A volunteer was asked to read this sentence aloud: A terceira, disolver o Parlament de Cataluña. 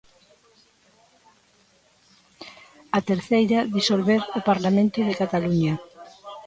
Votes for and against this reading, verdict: 1, 2, rejected